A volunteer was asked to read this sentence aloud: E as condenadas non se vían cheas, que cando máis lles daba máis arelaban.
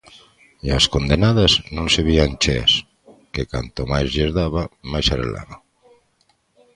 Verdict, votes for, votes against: accepted, 2, 0